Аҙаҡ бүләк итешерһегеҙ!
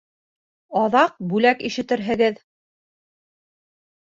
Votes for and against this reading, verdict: 1, 2, rejected